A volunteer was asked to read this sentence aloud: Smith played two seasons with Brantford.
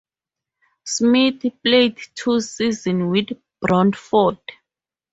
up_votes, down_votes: 2, 0